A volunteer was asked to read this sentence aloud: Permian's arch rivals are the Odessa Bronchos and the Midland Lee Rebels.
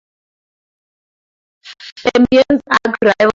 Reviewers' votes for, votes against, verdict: 0, 4, rejected